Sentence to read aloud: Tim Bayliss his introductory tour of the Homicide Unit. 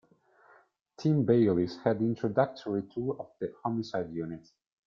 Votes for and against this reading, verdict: 0, 2, rejected